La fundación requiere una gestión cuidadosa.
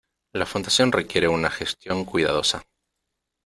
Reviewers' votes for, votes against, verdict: 2, 1, accepted